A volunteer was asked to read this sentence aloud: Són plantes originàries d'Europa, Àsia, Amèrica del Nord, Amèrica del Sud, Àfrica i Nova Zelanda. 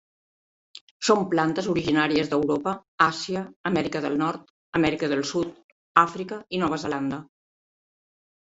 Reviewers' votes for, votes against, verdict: 3, 0, accepted